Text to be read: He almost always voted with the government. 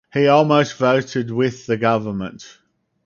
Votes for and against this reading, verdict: 0, 4, rejected